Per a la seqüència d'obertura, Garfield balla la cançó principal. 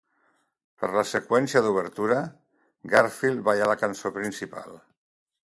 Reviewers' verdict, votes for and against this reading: rejected, 0, 2